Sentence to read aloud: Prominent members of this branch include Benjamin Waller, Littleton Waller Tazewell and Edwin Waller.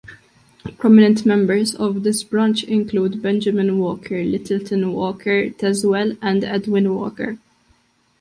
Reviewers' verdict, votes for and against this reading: rejected, 1, 2